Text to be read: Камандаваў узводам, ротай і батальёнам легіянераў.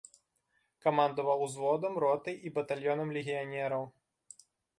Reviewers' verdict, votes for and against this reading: accepted, 2, 0